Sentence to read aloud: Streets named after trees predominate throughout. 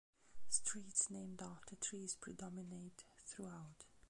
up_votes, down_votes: 0, 2